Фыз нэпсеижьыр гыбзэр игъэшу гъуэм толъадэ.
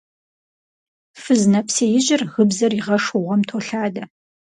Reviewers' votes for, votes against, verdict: 4, 0, accepted